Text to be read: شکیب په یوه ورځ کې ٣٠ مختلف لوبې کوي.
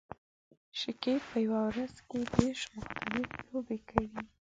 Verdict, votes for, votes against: rejected, 0, 2